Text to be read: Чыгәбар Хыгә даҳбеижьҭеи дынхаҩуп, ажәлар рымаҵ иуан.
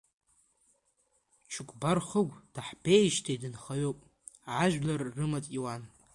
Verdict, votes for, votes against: rejected, 1, 2